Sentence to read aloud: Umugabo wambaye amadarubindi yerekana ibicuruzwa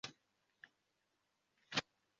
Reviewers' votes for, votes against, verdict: 0, 2, rejected